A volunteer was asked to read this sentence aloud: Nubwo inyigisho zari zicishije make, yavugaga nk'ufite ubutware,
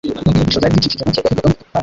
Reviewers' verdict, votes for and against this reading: rejected, 0, 2